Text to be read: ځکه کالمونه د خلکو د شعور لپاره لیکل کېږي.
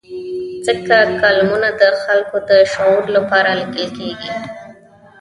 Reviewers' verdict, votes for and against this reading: accepted, 2, 0